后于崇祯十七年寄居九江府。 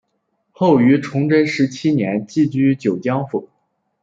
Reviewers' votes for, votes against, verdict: 2, 0, accepted